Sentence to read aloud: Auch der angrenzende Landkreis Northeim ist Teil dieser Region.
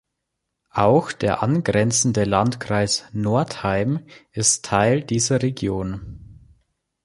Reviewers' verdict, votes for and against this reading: accepted, 2, 0